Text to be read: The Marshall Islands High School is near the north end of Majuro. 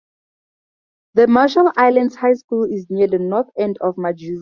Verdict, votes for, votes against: rejected, 2, 2